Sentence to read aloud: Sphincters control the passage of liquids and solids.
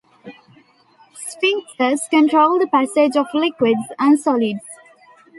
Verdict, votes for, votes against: accepted, 2, 1